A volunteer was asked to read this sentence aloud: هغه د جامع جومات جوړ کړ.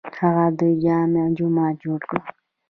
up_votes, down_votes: 1, 2